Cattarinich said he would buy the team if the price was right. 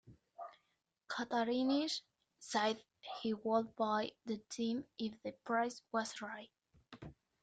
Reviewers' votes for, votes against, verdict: 2, 0, accepted